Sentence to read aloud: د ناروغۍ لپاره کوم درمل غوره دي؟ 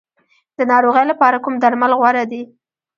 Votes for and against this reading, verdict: 1, 2, rejected